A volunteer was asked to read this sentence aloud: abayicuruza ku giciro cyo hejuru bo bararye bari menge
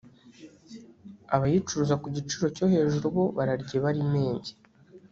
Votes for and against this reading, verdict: 0, 2, rejected